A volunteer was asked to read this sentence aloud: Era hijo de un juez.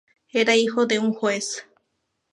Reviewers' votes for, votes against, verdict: 2, 0, accepted